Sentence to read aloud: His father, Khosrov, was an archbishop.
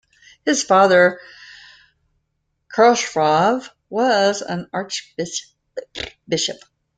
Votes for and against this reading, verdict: 0, 2, rejected